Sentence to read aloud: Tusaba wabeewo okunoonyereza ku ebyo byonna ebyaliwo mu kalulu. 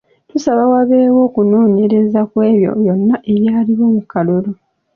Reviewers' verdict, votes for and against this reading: accepted, 2, 0